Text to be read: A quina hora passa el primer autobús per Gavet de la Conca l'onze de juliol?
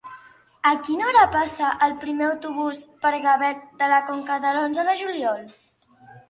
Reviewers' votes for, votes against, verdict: 1, 2, rejected